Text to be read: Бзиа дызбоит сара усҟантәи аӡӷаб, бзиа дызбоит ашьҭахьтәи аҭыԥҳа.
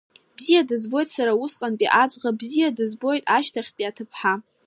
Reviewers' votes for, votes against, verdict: 2, 1, accepted